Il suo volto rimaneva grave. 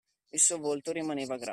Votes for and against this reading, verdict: 0, 2, rejected